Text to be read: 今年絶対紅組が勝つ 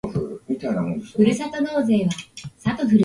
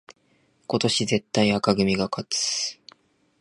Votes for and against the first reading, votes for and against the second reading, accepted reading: 1, 3, 2, 0, second